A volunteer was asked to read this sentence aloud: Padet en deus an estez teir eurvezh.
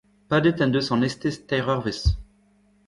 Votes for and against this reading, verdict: 1, 2, rejected